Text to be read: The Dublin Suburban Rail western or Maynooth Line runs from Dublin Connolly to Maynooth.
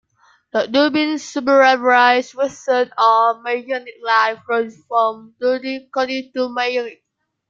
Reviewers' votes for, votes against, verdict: 0, 2, rejected